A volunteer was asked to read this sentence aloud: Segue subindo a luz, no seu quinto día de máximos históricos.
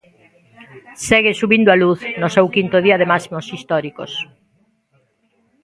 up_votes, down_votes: 2, 1